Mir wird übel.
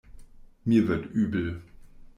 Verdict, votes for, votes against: accepted, 2, 0